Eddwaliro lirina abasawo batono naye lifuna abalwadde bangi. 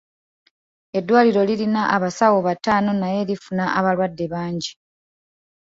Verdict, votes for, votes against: accepted, 2, 1